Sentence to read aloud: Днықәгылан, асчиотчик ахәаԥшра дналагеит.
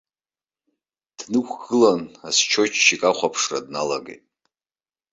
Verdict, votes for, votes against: accepted, 2, 0